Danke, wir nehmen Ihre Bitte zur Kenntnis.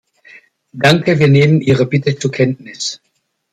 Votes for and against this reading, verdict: 2, 0, accepted